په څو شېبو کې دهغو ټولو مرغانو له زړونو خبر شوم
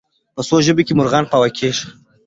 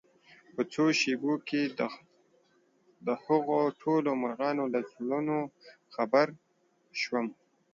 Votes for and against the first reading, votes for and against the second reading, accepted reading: 0, 2, 2, 0, second